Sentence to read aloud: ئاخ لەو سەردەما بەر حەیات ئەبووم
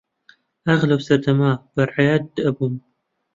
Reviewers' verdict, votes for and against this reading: accepted, 2, 0